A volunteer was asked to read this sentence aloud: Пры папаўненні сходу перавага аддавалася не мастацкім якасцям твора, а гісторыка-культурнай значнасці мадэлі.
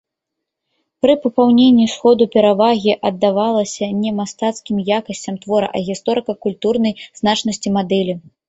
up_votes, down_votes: 0, 2